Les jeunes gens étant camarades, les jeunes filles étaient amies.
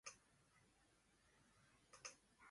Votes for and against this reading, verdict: 0, 2, rejected